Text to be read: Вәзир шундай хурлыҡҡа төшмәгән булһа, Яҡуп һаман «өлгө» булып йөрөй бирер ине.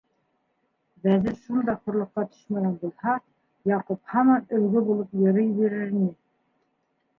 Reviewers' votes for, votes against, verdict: 0, 2, rejected